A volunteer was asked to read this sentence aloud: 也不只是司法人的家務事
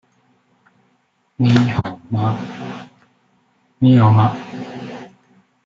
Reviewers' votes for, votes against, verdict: 0, 2, rejected